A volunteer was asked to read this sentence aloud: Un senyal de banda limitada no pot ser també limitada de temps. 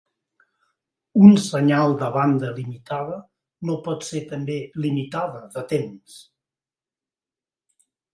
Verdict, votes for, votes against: accepted, 4, 0